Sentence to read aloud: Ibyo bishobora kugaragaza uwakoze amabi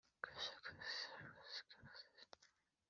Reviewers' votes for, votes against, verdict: 1, 2, rejected